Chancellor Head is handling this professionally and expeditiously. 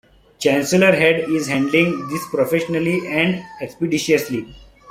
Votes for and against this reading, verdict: 3, 0, accepted